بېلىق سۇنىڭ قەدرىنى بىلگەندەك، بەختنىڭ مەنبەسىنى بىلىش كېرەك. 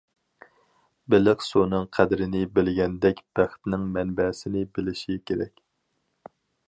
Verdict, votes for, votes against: rejected, 0, 4